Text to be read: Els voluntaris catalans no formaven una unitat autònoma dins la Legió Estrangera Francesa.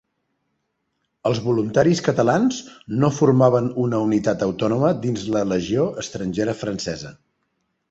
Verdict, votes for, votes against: accepted, 3, 0